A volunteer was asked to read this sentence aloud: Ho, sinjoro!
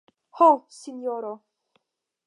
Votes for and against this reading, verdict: 5, 0, accepted